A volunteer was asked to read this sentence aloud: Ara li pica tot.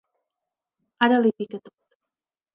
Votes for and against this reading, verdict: 0, 2, rejected